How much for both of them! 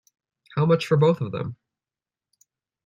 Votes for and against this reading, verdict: 2, 1, accepted